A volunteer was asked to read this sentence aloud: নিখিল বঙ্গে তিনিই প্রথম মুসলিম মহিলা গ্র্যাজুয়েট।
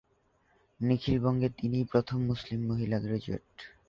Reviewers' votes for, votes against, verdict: 5, 0, accepted